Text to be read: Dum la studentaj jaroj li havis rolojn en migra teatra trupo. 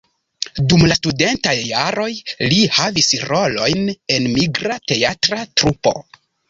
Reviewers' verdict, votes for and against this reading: rejected, 1, 2